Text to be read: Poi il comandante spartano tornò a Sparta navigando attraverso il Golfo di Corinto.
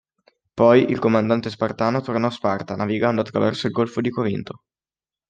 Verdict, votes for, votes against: accepted, 2, 1